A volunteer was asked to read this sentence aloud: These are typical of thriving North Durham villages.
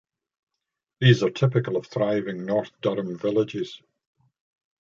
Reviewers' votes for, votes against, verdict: 2, 0, accepted